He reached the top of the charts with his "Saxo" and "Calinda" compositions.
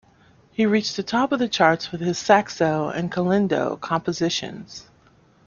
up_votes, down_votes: 1, 2